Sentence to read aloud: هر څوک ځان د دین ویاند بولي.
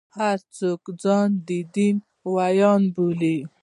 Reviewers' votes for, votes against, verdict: 2, 0, accepted